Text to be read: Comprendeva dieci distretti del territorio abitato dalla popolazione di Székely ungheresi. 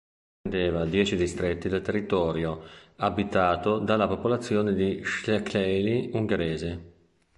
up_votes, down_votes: 0, 2